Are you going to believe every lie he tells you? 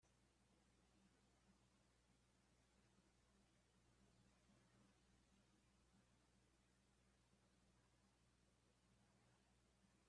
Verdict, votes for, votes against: rejected, 0, 2